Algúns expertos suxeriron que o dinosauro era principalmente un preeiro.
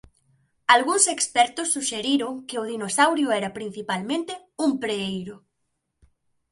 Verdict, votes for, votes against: rejected, 0, 2